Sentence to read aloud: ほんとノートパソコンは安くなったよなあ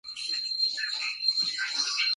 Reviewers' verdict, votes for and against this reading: rejected, 3, 9